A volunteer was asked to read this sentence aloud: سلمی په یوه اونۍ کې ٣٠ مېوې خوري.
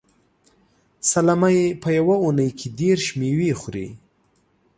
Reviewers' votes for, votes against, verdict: 0, 2, rejected